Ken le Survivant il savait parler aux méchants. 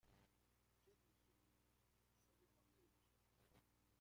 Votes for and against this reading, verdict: 0, 2, rejected